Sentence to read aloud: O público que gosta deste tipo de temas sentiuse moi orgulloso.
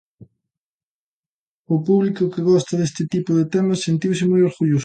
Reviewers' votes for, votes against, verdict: 2, 0, accepted